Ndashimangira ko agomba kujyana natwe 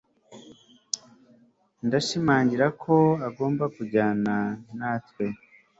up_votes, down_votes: 2, 0